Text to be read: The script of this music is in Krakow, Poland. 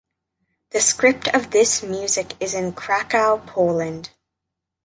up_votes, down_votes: 2, 0